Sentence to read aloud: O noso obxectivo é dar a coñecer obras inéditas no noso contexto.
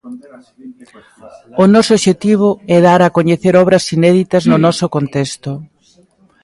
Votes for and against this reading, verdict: 2, 1, accepted